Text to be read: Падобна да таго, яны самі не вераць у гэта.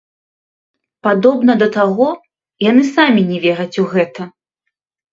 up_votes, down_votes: 1, 2